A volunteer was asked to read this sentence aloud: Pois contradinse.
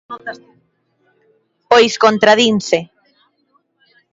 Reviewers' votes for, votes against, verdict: 2, 1, accepted